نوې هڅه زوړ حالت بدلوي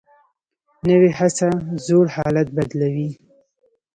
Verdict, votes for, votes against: accepted, 2, 0